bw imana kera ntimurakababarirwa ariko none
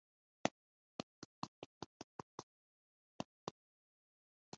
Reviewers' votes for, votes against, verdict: 1, 3, rejected